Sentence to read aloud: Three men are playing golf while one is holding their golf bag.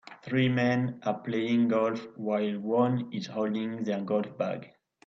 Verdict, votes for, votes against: accepted, 2, 0